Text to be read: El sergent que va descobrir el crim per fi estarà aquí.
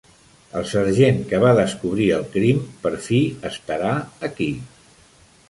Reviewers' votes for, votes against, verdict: 3, 0, accepted